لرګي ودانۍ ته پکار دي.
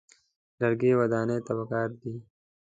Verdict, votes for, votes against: accepted, 2, 0